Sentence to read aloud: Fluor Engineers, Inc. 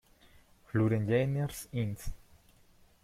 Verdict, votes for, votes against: rejected, 1, 2